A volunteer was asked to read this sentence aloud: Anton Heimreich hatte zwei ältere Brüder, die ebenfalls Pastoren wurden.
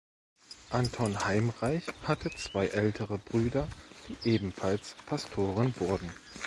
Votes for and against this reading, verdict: 1, 2, rejected